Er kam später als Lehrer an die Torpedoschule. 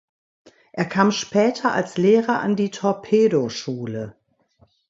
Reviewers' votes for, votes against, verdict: 3, 0, accepted